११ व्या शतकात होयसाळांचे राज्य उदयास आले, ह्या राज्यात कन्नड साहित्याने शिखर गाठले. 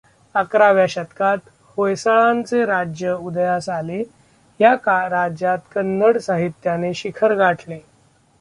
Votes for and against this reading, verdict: 0, 2, rejected